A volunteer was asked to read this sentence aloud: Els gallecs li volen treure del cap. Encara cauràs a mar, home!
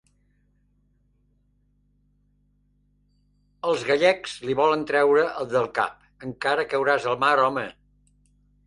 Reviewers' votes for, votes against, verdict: 2, 0, accepted